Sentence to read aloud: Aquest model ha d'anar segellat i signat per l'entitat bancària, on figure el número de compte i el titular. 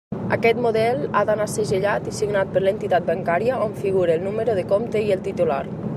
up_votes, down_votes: 2, 0